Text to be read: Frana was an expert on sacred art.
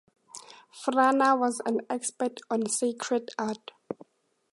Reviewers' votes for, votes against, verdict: 2, 0, accepted